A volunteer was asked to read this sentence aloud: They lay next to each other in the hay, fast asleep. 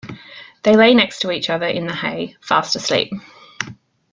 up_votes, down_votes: 2, 0